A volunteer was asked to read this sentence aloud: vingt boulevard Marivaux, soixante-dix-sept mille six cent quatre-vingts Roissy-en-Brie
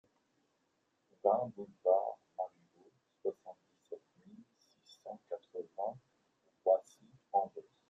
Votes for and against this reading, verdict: 0, 2, rejected